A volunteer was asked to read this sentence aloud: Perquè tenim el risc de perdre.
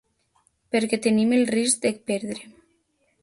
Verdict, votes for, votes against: accepted, 2, 0